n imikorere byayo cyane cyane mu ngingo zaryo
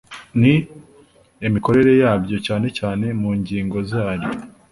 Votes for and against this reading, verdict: 2, 0, accepted